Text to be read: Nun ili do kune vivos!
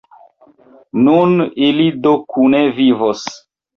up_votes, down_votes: 2, 1